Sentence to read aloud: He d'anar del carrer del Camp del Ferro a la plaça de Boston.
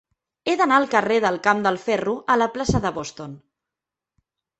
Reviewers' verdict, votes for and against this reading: rejected, 1, 2